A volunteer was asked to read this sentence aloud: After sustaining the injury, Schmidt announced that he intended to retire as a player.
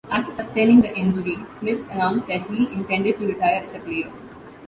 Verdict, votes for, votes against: rejected, 1, 2